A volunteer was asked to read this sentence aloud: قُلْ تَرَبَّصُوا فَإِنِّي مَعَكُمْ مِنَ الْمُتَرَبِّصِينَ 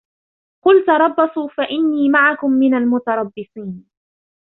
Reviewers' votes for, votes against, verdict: 2, 1, accepted